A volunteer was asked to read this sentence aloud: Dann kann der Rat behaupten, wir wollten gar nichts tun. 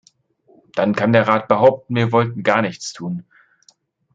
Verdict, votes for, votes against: accepted, 2, 0